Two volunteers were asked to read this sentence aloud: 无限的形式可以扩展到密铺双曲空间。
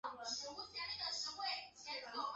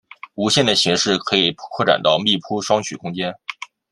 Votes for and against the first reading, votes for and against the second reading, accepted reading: 1, 3, 2, 0, second